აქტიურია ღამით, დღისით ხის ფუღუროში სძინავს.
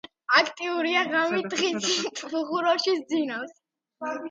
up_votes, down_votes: 0, 2